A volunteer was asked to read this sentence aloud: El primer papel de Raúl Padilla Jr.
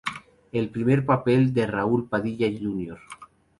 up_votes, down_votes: 2, 0